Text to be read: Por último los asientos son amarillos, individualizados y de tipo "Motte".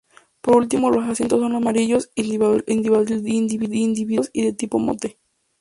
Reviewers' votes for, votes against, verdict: 0, 2, rejected